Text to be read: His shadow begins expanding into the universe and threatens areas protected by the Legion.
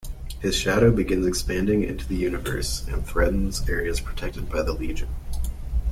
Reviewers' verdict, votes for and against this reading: accepted, 2, 0